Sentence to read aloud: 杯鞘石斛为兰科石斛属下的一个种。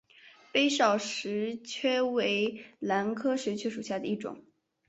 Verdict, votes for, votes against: rejected, 0, 3